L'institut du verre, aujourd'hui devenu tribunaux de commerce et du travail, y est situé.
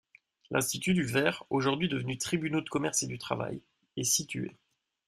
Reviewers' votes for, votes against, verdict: 1, 2, rejected